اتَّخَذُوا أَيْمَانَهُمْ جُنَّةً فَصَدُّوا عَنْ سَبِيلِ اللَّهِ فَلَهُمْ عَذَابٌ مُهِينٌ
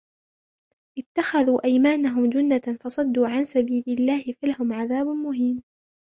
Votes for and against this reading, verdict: 0, 2, rejected